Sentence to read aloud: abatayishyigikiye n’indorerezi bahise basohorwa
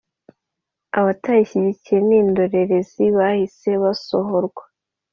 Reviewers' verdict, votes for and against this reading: accepted, 2, 0